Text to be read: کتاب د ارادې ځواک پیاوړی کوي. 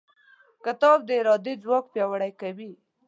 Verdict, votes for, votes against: accepted, 2, 0